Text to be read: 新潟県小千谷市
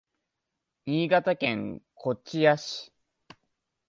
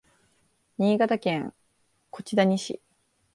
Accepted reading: second